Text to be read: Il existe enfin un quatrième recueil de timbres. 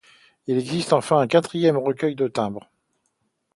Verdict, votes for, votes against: accepted, 2, 0